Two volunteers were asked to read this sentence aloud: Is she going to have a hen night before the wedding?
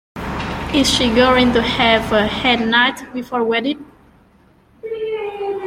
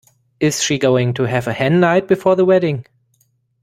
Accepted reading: second